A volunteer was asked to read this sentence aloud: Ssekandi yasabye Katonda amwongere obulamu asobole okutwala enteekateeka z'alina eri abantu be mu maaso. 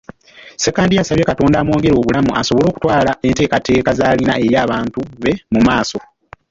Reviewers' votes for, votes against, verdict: 2, 1, accepted